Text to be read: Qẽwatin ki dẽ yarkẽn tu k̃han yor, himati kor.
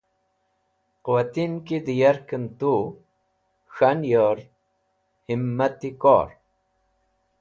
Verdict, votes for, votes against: accepted, 2, 0